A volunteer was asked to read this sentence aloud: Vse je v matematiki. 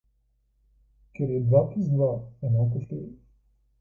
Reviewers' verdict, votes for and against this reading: rejected, 0, 2